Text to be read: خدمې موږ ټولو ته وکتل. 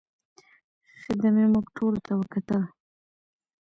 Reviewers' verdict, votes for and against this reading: rejected, 0, 2